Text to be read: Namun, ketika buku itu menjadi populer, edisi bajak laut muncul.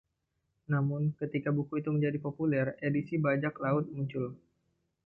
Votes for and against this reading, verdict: 2, 0, accepted